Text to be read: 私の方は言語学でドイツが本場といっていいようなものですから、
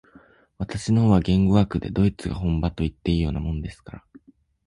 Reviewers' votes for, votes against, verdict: 2, 0, accepted